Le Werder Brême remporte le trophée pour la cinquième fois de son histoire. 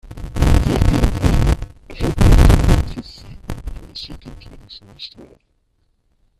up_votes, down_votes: 0, 2